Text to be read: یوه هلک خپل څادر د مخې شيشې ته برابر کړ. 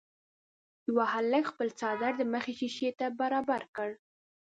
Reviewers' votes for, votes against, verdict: 2, 0, accepted